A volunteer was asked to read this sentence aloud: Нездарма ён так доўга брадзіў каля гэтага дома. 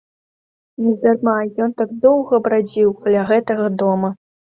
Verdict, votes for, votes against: accepted, 2, 0